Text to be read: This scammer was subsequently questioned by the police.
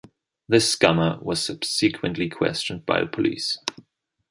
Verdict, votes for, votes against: rejected, 0, 2